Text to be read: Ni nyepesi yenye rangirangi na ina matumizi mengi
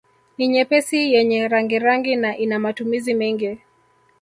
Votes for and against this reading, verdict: 1, 2, rejected